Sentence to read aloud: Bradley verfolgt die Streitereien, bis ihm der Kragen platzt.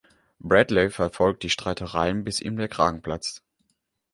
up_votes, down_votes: 2, 0